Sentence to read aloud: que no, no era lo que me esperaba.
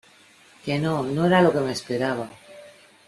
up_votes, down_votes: 2, 0